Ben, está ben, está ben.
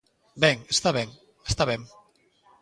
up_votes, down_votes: 1, 2